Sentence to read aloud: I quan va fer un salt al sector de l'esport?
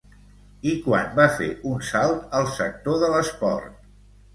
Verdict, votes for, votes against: rejected, 0, 3